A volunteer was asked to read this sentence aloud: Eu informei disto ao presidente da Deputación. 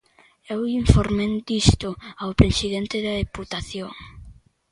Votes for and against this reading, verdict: 0, 2, rejected